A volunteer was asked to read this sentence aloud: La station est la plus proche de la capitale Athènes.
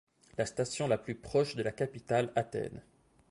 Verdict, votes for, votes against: rejected, 2, 3